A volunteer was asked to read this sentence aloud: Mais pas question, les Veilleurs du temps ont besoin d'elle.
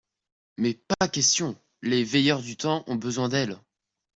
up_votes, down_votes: 2, 0